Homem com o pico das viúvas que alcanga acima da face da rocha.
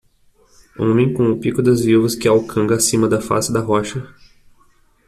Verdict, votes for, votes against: rejected, 1, 2